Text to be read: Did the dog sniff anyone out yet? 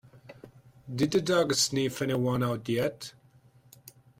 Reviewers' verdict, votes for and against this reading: accepted, 2, 0